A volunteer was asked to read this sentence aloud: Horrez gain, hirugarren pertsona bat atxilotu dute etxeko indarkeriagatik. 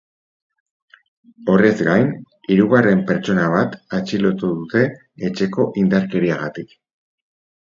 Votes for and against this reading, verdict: 4, 0, accepted